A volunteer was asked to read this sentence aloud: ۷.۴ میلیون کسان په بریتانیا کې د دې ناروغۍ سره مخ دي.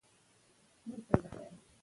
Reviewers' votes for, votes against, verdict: 0, 2, rejected